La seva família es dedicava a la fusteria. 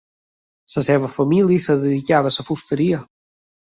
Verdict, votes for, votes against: rejected, 1, 3